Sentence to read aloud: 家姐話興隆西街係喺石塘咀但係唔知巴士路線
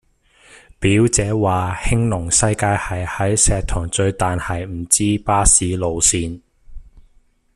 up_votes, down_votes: 0, 2